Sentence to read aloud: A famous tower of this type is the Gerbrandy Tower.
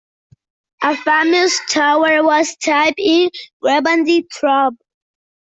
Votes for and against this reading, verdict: 0, 2, rejected